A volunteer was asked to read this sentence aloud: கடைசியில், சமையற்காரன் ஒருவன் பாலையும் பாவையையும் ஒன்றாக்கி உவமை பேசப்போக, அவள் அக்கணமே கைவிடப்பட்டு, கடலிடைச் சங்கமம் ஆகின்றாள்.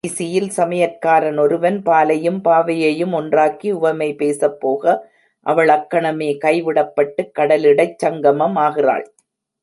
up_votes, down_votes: 1, 2